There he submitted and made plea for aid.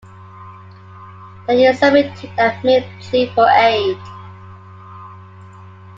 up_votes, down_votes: 0, 2